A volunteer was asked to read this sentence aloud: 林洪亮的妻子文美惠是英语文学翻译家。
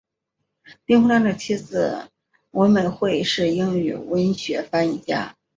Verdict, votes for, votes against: accepted, 2, 0